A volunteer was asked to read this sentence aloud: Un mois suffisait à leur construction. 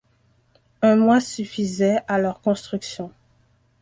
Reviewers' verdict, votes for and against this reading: accepted, 2, 0